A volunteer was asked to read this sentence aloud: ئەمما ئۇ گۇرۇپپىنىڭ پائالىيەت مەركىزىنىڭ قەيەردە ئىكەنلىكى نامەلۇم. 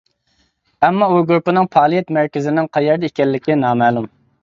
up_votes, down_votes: 2, 0